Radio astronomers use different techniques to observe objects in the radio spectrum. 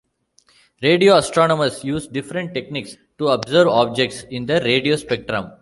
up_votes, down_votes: 2, 0